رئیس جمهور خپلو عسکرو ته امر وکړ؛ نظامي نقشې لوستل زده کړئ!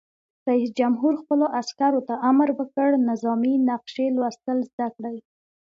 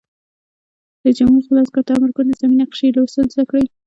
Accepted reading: first